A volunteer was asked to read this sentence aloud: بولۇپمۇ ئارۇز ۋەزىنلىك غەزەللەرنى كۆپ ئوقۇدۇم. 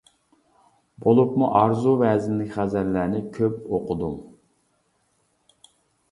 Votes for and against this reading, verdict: 0, 2, rejected